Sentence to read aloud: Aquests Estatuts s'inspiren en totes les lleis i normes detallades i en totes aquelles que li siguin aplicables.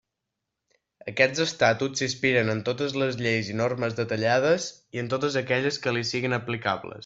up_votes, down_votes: 0, 2